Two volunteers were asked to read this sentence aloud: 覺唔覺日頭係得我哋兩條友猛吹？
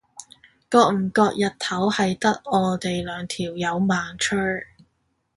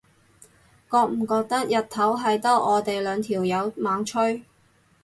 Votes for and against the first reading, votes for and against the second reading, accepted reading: 2, 0, 0, 4, first